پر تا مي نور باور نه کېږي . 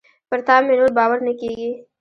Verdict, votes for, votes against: accepted, 2, 1